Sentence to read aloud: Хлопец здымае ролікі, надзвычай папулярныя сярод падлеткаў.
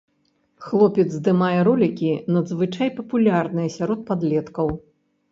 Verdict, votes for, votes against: rejected, 0, 2